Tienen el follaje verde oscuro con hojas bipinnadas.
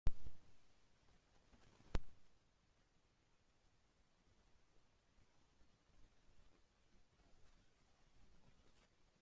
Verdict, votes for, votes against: rejected, 0, 2